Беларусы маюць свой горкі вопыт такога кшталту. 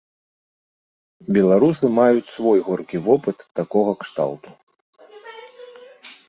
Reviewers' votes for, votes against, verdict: 1, 2, rejected